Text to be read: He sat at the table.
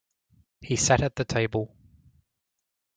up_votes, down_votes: 2, 0